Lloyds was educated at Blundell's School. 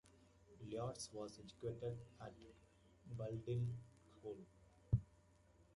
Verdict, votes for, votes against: rejected, 1, 2